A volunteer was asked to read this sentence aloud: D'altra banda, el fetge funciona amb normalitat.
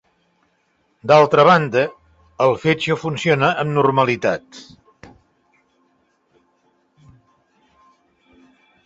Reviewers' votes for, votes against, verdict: 2, 0, accepted